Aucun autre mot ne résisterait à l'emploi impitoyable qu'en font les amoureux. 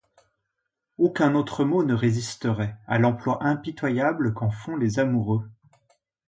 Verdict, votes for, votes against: accepted, 2, 0